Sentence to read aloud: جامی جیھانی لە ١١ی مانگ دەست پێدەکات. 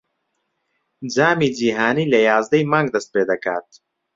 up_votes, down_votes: 0, 2